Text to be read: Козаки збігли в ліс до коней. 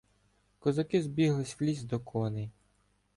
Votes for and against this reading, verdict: 0, 2, rejected